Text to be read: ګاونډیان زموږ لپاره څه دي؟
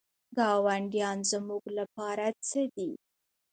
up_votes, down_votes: 1, 2